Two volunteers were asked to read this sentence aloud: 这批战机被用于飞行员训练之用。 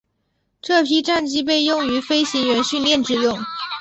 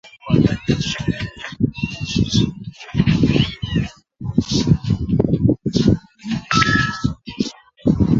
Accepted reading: first